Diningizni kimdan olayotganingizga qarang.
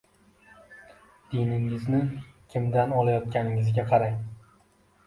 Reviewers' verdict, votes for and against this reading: accepted, 2, 0